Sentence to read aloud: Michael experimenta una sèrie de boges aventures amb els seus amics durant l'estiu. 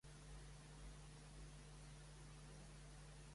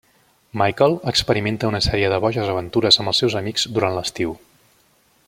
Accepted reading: second